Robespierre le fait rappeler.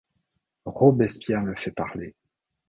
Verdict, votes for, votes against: rejected, 0, 2